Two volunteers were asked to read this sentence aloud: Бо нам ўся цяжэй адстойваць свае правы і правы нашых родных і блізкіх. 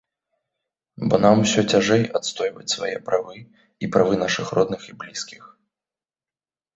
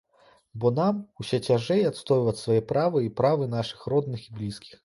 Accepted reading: first